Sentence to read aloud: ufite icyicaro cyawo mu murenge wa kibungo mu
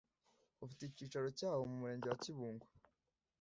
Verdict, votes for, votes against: rejected, 0, 2